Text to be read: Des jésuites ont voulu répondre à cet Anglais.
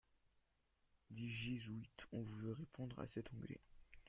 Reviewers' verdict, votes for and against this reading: rejected, 1, 2